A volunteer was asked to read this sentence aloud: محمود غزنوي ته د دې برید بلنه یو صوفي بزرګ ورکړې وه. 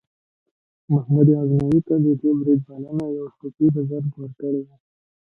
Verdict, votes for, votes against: accepted, 2, 0